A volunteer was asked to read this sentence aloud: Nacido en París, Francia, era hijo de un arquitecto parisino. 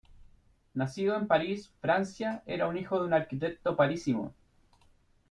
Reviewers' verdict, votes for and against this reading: accepted, 2, 1